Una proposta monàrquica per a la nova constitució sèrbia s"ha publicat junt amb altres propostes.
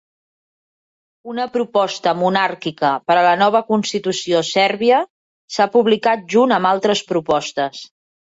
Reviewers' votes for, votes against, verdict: 2, 0, accepted